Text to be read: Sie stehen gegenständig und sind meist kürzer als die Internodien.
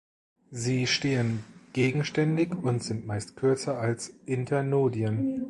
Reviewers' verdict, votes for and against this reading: rejected, 1, 2